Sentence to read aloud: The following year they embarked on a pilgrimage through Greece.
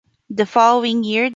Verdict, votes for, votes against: rejected, 0, 2